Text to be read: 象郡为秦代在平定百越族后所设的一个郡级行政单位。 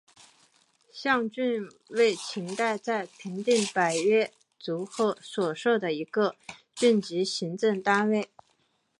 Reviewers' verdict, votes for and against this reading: accepted, 2, 0